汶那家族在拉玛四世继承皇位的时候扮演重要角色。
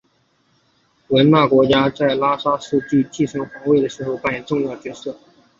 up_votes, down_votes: 5, 1